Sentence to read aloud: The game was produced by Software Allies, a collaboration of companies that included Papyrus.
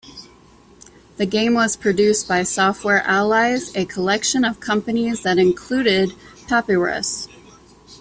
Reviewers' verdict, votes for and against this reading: rejected, 0, 2